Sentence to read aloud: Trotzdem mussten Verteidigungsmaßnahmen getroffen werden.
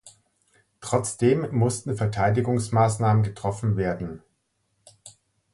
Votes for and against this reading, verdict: 2, 0, accepted